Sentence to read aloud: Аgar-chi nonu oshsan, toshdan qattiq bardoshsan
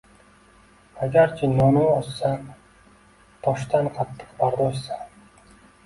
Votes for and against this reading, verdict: 1, 2, rejected